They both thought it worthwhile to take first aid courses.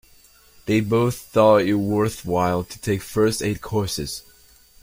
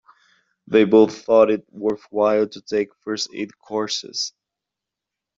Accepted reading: first